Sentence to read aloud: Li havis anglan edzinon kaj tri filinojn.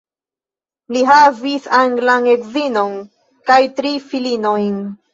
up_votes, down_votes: 3, 0